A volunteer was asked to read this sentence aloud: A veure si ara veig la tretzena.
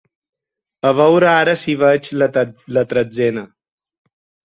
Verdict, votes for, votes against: rejected, 0, 4